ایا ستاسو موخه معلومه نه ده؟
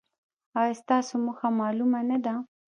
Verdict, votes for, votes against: rejected, 1, 2